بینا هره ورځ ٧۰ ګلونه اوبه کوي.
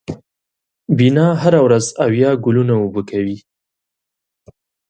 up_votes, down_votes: 0, 2